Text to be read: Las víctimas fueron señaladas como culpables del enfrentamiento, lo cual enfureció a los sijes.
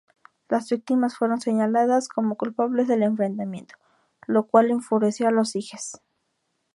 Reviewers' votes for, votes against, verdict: 2, 0, accepted